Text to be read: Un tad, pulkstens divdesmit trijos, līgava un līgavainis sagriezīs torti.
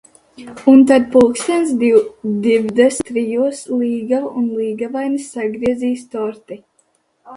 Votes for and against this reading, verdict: 0, 2, rejected